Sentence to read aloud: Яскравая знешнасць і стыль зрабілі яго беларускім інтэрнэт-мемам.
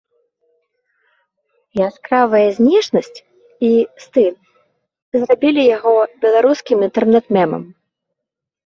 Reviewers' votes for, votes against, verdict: 3, 0, accepted